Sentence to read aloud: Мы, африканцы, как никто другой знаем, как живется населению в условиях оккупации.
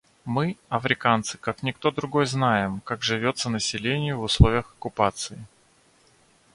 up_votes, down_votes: 2, 0